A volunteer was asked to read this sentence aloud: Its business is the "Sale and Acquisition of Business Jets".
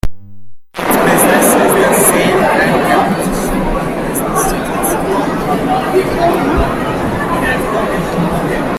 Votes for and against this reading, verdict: 0, 2, rejected